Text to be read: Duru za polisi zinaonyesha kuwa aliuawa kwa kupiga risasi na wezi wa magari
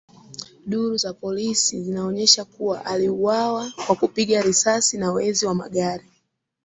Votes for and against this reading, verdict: 2, 0, accepted